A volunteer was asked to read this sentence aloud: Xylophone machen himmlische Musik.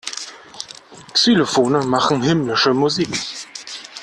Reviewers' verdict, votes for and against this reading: accepted, 2, 1